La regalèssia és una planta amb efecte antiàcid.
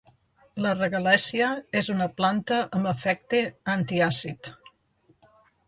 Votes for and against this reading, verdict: 2, 0, accepted